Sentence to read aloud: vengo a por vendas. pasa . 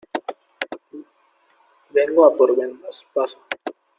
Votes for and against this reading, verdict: 1, 2, rejected